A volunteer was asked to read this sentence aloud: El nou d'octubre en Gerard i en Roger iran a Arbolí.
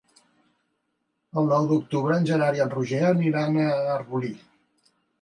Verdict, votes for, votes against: rejected, 0, 2